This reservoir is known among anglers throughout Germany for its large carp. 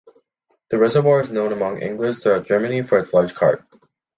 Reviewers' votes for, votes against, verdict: 1, 2, rejected